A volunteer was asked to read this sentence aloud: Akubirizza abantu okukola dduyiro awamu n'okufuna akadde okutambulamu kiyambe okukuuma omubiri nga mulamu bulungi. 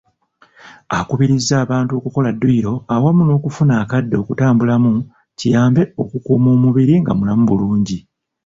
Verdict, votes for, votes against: accepted, 2, 0